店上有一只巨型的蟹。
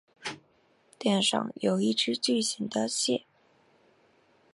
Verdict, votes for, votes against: accepted, 3, 0